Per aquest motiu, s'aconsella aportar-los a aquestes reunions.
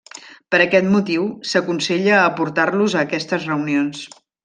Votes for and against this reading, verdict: 3, 0, accepted